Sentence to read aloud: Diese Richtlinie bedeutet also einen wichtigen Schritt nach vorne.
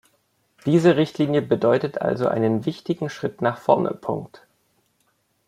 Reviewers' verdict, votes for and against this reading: rejected, 0, 2